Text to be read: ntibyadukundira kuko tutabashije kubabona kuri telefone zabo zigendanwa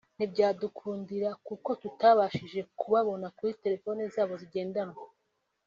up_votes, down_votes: 2, 0